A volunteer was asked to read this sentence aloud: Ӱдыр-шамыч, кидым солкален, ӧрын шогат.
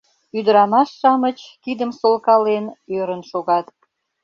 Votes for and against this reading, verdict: 0, 2, rejected